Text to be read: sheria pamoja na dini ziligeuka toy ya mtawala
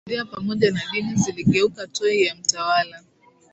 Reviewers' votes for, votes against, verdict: 10, 5, accepted